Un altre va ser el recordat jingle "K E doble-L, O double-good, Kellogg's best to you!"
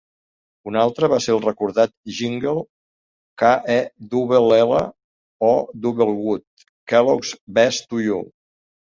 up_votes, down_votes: 0, 2